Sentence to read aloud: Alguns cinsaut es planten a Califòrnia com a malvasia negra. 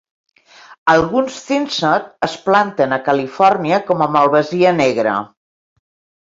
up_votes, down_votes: 1, 2